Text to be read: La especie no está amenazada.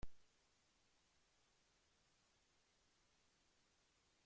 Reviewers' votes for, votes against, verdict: 0, 2, rejected